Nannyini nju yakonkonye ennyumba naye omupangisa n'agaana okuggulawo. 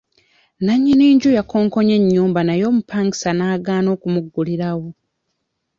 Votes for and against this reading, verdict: 1, 2, rejected